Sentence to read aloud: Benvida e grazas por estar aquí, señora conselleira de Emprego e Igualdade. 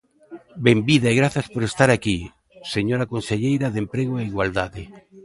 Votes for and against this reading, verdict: 1, 2, rejected